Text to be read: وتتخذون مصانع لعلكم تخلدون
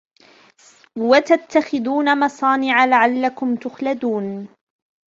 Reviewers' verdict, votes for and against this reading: accepted, 2, 1